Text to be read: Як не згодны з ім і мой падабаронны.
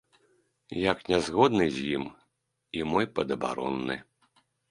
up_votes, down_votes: 2, 0